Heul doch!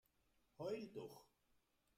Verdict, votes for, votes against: rejected, 0, 2